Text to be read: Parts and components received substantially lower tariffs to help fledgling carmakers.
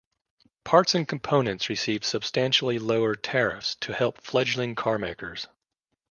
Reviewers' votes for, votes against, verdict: 2, 0, accepted